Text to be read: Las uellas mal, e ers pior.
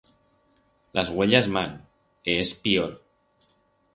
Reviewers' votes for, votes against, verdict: 4, 0, accepted